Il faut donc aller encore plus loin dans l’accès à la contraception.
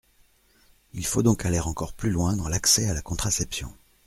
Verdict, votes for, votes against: accepted, 2, 0